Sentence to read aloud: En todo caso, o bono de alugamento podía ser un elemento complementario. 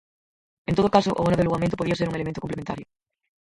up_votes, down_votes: 0, 4